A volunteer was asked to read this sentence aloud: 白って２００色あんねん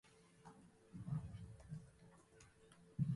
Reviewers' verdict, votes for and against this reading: rejected, 0, 2